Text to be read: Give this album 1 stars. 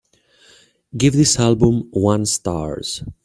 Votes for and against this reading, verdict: 0, 2, rejected